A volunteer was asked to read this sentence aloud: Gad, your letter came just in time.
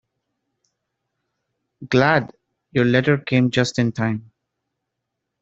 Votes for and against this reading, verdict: 0, 2, rejected